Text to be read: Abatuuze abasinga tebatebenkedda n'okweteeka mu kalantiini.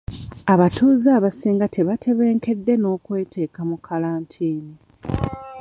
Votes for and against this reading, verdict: 1, 2, rejected